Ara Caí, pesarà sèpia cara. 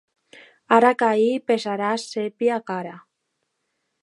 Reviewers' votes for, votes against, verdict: 2, 0, accepted